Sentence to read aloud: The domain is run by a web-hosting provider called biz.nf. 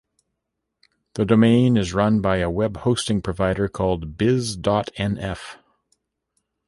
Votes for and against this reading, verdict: 2, 1, accepted